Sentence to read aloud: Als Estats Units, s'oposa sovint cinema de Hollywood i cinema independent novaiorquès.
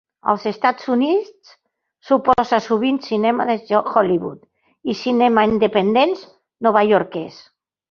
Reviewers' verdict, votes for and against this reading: rejected, 0, 2